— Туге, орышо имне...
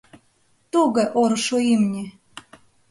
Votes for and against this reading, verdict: 2, 3, rejected